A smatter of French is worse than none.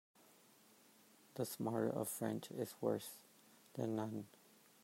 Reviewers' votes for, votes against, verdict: 1, 2, rejected